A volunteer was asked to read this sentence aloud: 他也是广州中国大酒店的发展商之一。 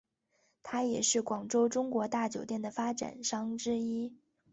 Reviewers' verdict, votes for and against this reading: accepted, 7, 1